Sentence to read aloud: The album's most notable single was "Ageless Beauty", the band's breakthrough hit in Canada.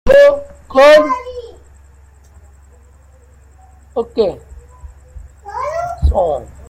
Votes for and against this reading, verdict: 0, 2, rejected